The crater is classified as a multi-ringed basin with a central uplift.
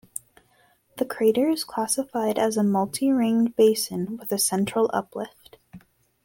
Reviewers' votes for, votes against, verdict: 2, 0, accepted